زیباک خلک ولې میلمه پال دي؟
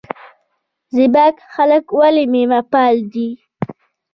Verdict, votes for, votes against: rejected, 0, 2